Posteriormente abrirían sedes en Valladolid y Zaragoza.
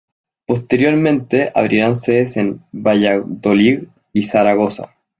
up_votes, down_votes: 0, 2